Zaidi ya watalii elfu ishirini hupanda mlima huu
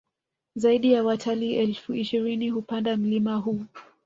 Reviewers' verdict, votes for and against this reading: rejected, 1, 2